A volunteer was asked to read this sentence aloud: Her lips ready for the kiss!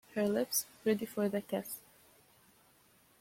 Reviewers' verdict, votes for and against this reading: accepted, 2, 0